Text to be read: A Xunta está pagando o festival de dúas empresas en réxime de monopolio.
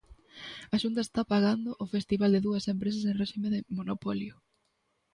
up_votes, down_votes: 2, 0